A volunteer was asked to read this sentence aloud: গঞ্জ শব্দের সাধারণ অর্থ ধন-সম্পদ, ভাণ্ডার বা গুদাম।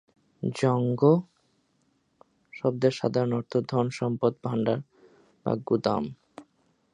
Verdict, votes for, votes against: rejected, 1, 2